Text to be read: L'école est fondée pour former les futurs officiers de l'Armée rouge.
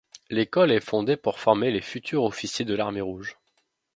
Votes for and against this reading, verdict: 2, 0, accepted